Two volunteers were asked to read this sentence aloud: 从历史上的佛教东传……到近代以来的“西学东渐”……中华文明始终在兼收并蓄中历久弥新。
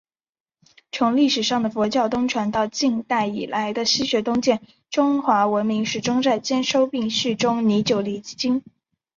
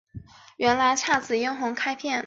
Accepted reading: first